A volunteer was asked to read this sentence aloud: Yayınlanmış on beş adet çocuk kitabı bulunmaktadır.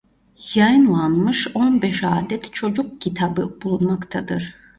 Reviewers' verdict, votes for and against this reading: rejected, 0, 2